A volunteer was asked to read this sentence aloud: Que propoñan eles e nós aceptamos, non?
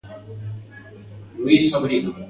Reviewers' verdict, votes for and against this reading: rejected, 0, 2